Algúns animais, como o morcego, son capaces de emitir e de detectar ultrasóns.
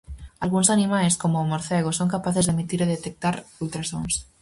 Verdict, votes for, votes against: rejected, 2, 2